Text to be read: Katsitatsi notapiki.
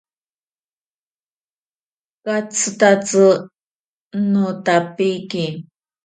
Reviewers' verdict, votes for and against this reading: accepted, 4, 0